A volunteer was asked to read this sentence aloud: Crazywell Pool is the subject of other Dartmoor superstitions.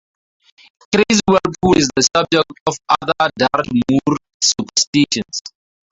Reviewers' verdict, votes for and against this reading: rejected, 0, 2